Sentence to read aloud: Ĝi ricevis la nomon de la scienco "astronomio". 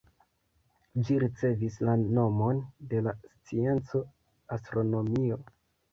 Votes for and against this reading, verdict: 2, 1, accepted